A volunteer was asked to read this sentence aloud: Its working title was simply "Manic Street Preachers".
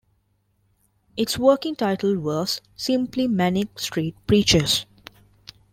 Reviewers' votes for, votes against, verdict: 2, 0, accepted